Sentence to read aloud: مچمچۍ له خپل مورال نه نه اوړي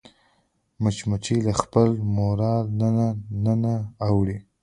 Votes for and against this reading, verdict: 0, 2, rejected